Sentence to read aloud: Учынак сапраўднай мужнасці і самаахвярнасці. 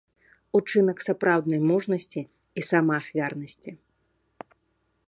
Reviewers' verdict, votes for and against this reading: accepted, 2, 0